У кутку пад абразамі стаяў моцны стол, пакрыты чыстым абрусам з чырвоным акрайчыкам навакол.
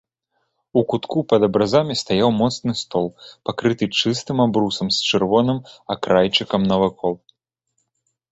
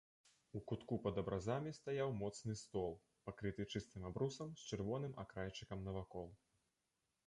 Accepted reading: first